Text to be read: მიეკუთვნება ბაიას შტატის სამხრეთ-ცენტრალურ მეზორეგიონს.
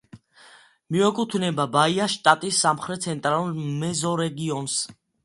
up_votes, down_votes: 2, 1